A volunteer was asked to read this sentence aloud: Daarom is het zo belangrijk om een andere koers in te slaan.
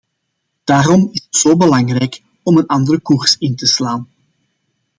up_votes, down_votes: 0, 2